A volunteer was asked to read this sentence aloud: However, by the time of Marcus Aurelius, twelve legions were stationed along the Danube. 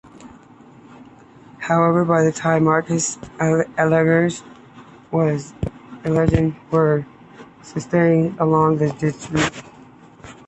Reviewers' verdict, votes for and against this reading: accepted, 2, 1